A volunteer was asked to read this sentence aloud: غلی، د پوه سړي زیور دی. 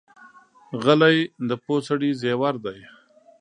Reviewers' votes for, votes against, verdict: 2, 0, accepted